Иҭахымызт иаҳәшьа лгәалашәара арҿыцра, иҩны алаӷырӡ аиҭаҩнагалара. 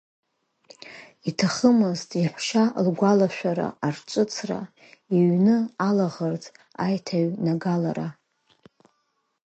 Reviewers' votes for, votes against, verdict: 2, 0, accepted